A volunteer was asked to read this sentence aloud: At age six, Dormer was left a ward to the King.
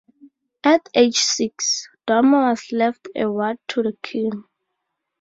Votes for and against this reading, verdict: 2, 2, rejected